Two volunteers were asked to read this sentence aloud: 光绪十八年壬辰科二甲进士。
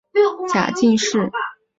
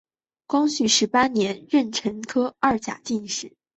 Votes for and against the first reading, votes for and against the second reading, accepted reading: 0, 2, 2, 0, second